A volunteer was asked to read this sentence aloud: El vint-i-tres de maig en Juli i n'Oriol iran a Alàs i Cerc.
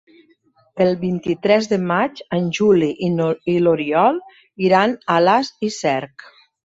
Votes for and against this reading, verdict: 1, 2, rejected